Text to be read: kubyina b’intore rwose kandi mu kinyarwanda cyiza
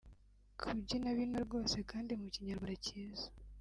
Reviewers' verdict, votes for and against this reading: rejected, 1, 2